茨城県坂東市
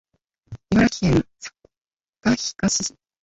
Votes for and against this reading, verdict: 0, 2, rejected